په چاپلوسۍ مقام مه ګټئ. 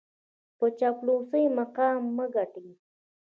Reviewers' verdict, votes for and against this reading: accepted, 2, 0